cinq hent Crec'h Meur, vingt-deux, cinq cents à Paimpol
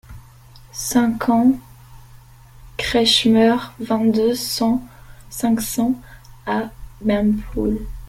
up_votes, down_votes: 0, 2